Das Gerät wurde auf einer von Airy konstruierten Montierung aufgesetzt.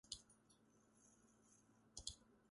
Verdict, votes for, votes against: rejected, 0, 2